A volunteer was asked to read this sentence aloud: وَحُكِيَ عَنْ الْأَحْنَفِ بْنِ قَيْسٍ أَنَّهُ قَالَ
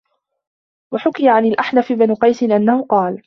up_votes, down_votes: 2, 0